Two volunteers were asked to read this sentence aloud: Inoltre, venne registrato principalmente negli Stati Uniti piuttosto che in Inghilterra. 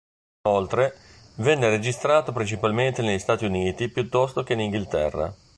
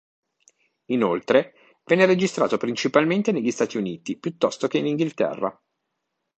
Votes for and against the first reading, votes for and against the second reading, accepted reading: 1, 2, 2, 0, second